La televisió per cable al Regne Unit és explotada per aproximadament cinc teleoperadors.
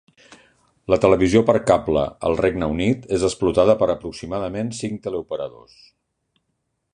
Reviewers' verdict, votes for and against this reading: accepted, 2, 0